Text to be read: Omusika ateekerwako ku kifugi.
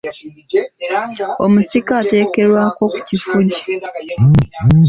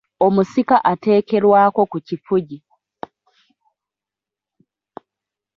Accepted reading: second